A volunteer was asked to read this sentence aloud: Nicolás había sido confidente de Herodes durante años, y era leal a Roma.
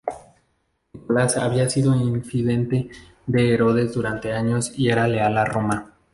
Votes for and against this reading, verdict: 0, 2, rejected